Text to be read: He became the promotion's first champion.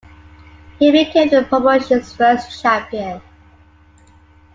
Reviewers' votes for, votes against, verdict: 2, 0, accepted